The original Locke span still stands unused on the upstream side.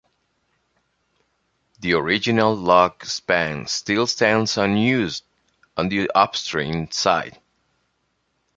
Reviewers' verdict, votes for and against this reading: accepted, 2, 0